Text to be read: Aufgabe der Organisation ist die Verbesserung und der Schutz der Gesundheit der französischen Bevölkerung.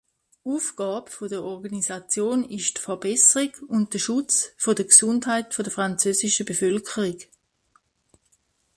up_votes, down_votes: 0, 2